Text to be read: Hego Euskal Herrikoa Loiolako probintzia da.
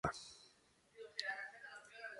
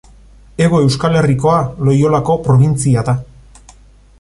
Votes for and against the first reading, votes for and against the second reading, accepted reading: 0, 2, 2, 0, second